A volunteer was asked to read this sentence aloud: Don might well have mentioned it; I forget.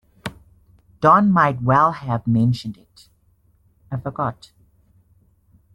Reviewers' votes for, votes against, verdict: 1, 2, rejected